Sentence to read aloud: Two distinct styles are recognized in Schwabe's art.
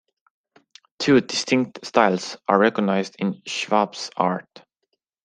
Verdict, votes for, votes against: accepted, 2, 0